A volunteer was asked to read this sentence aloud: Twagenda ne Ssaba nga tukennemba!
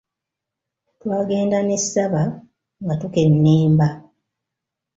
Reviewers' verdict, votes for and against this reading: accepted, 2, 0